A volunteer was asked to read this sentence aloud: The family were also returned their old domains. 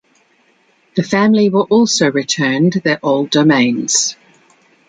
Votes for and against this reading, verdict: 2, 0, accepted